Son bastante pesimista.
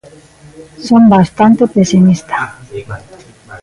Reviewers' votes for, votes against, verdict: 1, 2, rejected